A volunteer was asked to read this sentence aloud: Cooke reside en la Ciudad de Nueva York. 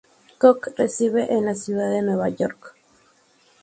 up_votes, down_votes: 4, 0